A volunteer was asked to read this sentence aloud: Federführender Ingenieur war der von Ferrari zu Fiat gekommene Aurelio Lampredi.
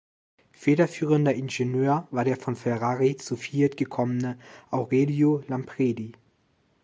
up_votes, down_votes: 2, 0